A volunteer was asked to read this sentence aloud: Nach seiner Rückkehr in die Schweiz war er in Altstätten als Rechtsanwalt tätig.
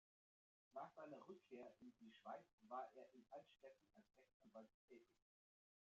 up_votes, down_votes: 1, 2